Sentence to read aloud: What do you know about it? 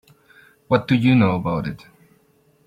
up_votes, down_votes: 2, 0